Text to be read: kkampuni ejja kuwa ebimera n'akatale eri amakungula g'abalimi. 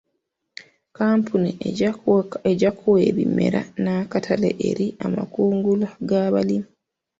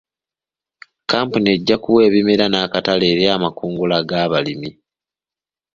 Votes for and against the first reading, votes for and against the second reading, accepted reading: 0, 2, 2, 0, second